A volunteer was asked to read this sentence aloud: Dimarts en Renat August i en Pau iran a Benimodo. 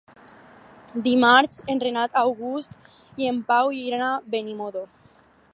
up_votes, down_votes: 0, 2